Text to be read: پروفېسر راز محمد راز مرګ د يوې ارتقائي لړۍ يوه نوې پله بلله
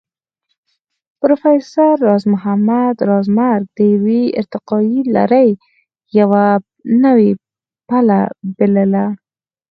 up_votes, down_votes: 4, 2